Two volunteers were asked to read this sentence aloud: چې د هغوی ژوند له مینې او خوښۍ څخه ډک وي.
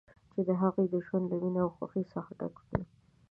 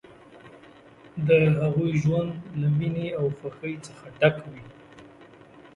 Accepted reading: second